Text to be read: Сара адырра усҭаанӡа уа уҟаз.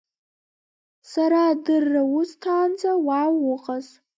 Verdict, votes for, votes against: accepted, 2, 1